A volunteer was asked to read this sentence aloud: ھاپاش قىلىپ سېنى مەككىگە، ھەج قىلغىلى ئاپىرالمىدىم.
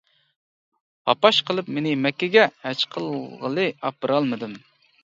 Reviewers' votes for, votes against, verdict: 0, 2, rejected